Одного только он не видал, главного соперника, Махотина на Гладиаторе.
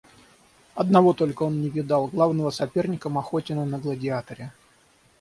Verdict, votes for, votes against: rejected, 0, 3